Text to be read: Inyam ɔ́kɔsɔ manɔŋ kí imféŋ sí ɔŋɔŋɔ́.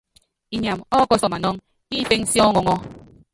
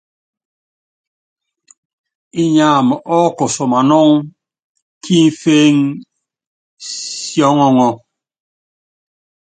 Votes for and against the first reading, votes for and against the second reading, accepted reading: 0, 2, 2, 0, second